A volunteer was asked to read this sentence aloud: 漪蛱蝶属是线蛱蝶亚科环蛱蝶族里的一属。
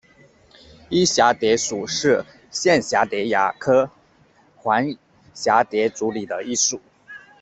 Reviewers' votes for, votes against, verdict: 2, 0, accepted